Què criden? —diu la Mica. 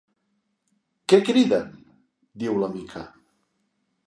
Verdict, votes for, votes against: accepted, 2, 0